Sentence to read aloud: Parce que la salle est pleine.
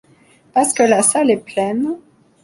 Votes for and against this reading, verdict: 2, 0, accepted